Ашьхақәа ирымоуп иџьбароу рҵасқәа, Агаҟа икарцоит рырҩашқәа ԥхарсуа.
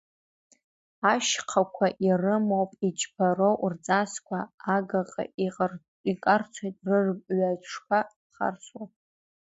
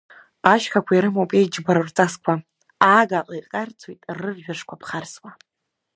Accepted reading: second